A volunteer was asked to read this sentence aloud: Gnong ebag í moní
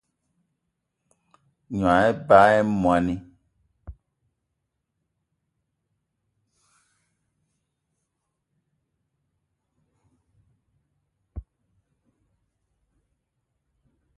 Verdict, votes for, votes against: rejected, 1, 2